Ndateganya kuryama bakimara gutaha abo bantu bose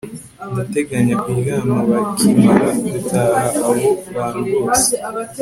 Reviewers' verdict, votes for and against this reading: accepted, 2, 0